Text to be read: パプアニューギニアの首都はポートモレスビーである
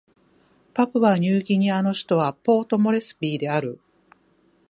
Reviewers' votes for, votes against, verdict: 1, 2, rejected